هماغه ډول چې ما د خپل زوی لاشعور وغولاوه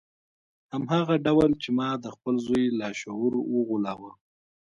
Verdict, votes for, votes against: rejected, 1, 2